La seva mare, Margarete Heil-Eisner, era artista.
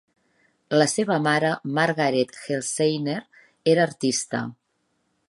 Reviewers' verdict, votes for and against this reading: rejected, 1, 2